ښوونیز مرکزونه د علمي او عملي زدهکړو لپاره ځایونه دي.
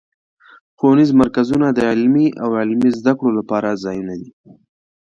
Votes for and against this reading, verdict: 2, 0, accepted